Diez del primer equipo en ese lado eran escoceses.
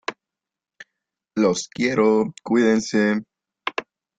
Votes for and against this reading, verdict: 0, 2, rejected